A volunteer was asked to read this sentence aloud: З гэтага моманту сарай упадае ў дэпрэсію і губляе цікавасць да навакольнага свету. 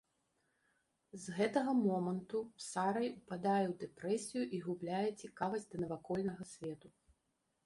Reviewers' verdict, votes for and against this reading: rejected, 1, 2